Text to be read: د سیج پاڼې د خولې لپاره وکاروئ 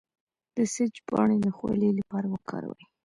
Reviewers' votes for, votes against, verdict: 1, 2, rejected